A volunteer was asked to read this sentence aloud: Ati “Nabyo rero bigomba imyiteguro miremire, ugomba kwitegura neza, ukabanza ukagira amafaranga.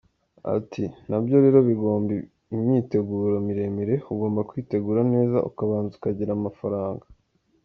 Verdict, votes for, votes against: accepted, 2, 1